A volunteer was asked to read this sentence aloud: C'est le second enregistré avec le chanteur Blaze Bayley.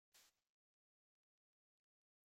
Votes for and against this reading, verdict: 0, 2, rejected